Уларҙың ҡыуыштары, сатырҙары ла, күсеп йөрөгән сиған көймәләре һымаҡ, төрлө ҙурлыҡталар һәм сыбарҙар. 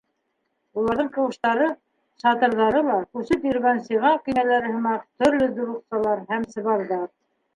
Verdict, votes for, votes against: rejected, 1, 2